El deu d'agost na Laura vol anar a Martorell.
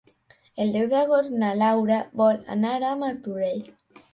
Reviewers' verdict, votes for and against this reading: accepted, 3, 0